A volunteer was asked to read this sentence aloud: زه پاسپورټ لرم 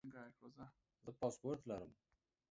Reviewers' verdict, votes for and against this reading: rejected, 1, 2